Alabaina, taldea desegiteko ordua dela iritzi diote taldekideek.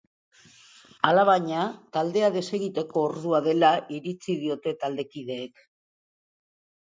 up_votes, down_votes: 2, 0